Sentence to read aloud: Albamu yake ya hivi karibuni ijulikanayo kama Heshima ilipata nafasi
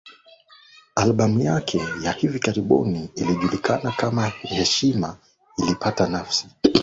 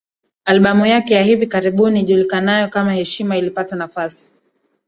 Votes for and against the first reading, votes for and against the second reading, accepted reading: 0, 2, 2, 0, second